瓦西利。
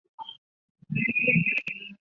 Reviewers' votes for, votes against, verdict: 0, 2, rejected